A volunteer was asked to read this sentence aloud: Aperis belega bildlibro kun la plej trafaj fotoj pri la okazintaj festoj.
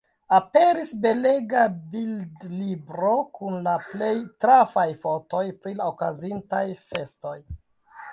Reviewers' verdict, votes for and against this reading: rejected, 0, 2